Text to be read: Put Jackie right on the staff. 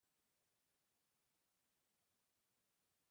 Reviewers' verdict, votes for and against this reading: rejected, 0, 2